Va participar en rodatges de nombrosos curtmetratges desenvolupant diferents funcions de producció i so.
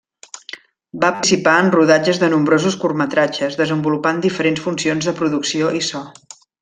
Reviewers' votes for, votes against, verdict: 1, 2, rejected